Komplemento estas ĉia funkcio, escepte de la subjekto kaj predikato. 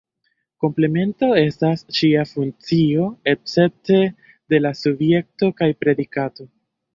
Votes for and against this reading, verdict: 0, 2, rejected